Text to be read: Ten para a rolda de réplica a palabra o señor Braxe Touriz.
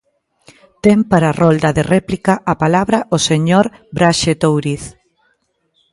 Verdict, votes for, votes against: accepted, 2, 0